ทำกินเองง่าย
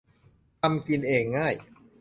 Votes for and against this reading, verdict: 2, 0, accepted